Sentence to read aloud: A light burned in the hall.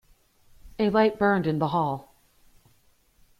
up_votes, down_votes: 2, 0